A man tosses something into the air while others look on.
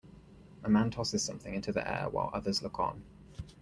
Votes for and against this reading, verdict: 2, 0, accepted